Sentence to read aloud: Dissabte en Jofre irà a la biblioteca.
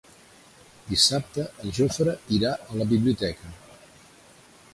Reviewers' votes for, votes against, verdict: 1, 2, rejected